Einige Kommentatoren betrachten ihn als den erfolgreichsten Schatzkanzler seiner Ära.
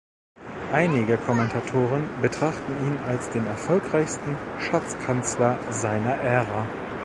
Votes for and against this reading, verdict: 0, 2, rejected